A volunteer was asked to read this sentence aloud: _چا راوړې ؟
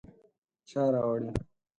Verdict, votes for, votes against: accepted, 4, 0